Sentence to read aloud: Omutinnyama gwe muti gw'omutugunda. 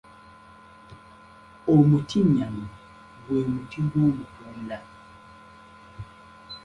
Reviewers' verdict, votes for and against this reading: accepted, 2, 0